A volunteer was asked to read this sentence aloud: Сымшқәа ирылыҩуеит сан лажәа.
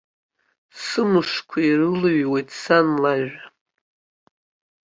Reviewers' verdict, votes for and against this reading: accepted, 2, 0